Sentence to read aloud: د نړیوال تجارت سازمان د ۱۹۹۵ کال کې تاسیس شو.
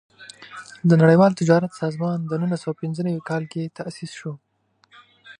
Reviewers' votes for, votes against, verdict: 0, 2, rejected